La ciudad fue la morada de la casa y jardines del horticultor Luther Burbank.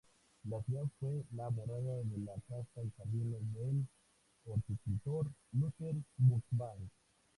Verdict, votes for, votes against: rejected, 0, 2